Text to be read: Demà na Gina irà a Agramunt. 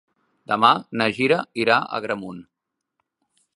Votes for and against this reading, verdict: 2, 1, accepted